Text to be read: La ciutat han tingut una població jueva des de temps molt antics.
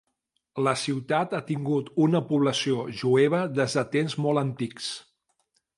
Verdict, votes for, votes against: rejected, 1, 2